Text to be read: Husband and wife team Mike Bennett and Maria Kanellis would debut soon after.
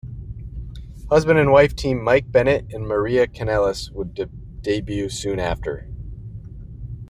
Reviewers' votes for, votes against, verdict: 1, 2, rejected